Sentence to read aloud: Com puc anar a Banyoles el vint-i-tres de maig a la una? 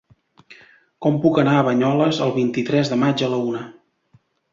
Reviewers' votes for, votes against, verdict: 2, 0, accepted